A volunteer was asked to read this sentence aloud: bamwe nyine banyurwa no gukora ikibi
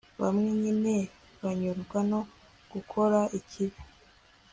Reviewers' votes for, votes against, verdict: 2, 0, accepted